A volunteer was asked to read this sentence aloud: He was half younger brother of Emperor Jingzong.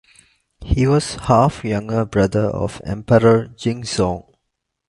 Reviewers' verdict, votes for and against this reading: accepted, 2, 1